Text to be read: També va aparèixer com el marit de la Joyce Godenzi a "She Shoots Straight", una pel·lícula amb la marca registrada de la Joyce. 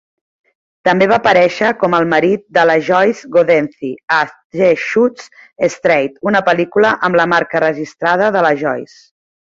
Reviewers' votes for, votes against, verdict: 2, 0, accepted